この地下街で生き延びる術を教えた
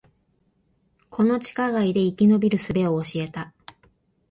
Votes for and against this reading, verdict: 2, 0, accepted